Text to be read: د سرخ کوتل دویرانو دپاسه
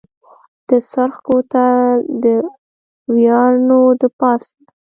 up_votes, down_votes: 0, 2